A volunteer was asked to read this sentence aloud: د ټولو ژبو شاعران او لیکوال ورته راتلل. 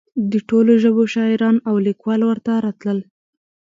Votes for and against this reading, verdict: 2, 0, accepted